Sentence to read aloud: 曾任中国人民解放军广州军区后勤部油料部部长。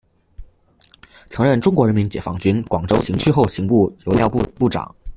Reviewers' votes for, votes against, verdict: 1, 2, rejected